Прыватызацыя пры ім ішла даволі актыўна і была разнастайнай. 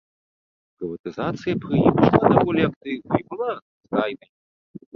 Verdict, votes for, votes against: rejected, 0, 2